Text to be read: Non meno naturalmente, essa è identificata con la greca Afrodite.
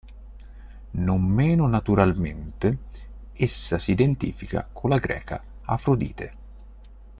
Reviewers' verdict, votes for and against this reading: rejected, 0, 2